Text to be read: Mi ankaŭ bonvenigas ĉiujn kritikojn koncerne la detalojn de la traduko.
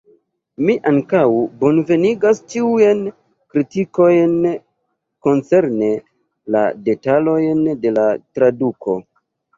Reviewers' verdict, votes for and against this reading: rejected, 0, 2